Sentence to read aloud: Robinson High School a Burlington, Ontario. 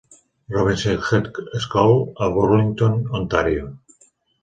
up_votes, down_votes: 1, 2